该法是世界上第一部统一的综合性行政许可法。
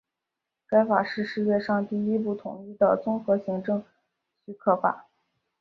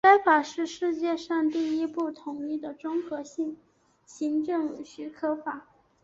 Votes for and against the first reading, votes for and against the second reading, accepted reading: 1, 2, 5, 0, second